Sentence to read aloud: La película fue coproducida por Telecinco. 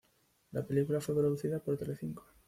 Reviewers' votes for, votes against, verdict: 1, 2, rejected